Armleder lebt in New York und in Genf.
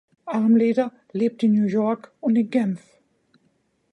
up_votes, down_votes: 2, 0